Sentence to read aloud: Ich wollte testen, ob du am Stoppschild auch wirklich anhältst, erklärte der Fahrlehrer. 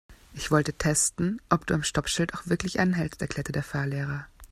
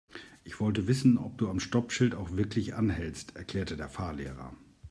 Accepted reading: first